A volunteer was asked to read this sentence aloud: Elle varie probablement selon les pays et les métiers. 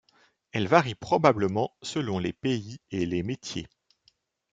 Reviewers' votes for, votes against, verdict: 2, 0, accepted